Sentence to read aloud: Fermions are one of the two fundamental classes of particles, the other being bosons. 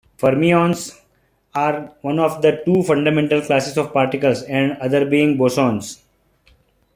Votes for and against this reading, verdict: 2, 1, accepted